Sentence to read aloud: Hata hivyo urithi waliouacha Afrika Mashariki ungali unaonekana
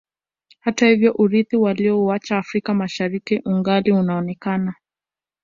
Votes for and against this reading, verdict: 2, 0, accepted